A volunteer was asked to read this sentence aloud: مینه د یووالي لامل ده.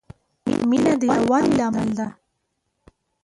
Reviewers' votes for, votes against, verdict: 1, 2, rejected